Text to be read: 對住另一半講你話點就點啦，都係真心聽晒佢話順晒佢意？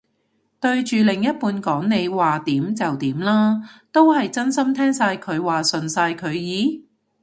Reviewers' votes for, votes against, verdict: 2, 0, accepted